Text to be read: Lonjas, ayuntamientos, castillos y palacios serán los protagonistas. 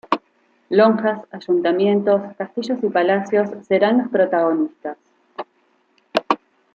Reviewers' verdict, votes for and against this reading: accepted, 2, 0